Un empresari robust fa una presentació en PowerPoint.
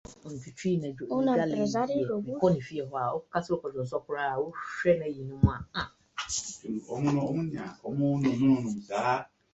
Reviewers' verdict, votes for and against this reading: rejected, 1, 2